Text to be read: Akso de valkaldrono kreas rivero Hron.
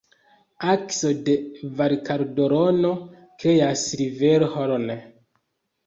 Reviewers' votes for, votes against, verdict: 0, 2, rejected